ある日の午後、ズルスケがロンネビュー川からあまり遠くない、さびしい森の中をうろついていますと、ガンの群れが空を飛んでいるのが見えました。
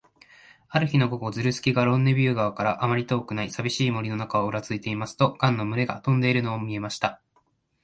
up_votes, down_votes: 0, 2